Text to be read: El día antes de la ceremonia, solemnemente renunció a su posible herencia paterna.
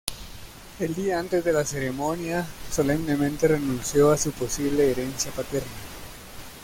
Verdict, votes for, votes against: accepted, 2, 0